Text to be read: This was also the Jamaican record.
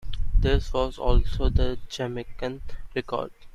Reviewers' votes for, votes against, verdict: 2, 0, accepted